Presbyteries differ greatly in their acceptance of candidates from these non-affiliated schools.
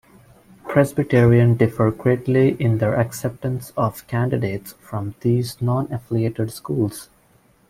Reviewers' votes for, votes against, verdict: 1, 2, rejected